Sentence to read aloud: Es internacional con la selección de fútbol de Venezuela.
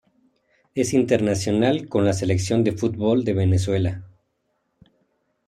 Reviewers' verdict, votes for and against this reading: accepted, 2, 0